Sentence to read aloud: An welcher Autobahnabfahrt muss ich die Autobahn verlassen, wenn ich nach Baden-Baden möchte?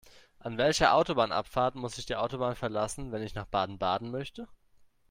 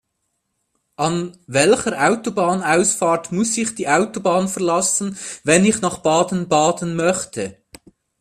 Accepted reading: first